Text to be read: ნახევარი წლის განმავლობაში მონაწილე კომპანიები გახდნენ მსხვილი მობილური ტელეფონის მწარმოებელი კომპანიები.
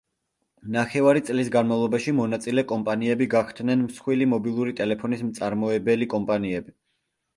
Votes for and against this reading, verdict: 2, 0, accepted